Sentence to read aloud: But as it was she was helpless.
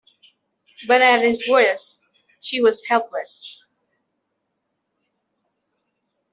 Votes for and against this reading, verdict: 1, 2, rejected